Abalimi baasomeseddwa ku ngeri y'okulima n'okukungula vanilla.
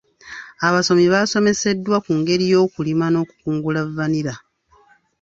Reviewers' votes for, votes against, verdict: 1, 2, rejected